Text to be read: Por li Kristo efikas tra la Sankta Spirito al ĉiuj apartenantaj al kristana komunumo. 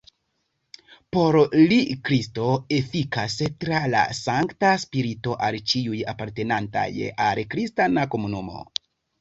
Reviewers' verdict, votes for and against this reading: rejected, 1, 2